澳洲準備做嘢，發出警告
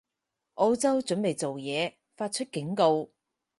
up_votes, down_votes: 4, 0